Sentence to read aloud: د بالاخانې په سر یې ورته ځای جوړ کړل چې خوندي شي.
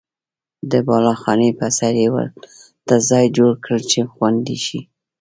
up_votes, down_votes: 2, 0